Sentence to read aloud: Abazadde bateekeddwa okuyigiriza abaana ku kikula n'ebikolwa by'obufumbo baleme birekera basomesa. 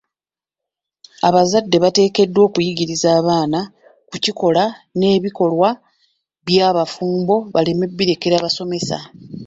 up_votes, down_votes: 2, 1